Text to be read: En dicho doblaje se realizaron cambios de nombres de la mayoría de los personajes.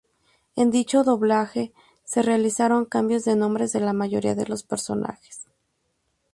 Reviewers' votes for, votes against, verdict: 0, 2, rejected